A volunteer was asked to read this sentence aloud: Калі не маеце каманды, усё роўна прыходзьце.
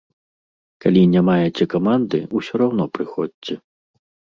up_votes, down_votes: 1, 2